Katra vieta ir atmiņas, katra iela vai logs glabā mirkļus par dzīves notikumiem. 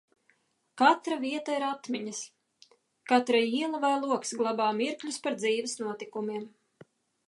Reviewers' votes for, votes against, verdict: 2, 0, accepted